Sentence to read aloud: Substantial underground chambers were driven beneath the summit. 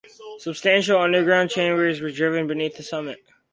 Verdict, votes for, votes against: accepted, 2, 0